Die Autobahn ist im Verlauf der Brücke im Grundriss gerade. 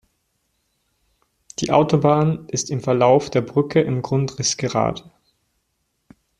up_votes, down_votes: 2, 0